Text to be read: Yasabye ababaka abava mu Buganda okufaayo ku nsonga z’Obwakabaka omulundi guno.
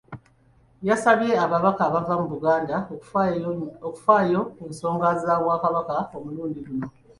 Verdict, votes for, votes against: rejected, 0, 2